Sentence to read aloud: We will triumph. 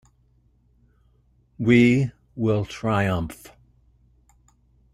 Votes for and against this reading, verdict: 2, 0, accepted